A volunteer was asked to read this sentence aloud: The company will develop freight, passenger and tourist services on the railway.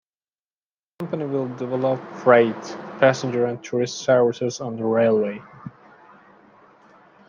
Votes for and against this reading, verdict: 0, 2, rejected